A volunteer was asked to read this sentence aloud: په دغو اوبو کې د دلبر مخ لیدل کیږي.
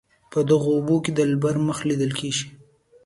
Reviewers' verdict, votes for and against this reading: accepted, 2, 0